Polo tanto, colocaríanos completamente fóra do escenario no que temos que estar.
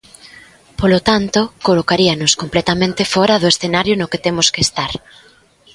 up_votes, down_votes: 2, 0